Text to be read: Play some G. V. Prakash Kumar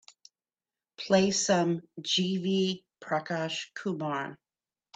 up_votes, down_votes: 2, 0